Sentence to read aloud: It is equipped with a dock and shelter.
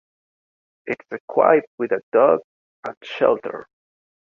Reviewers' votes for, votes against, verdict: 0, 2, rejected